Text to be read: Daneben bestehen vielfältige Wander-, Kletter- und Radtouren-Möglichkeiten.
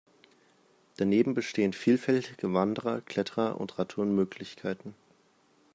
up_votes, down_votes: 0, 2